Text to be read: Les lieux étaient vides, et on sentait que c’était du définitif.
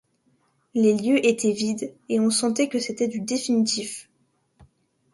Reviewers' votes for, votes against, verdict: 2, 0, accepted